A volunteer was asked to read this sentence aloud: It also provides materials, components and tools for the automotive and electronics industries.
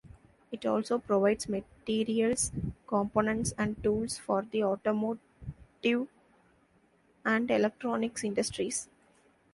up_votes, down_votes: 0, 2